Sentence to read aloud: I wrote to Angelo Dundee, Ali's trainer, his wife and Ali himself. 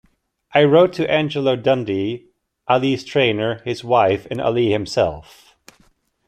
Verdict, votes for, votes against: accepted, 2, 0